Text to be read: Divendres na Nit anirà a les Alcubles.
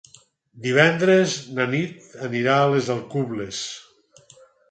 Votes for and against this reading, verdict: 6, 0, accepted